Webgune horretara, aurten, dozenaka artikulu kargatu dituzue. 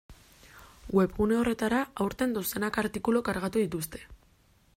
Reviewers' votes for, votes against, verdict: 1, 2, rejected